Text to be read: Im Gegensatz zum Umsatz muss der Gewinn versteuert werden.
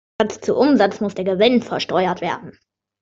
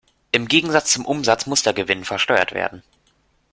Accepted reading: second